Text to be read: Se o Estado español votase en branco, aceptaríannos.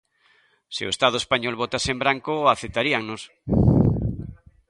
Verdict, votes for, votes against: accepted, 2, 0